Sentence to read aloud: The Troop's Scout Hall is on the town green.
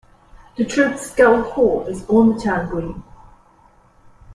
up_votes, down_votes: 2, 0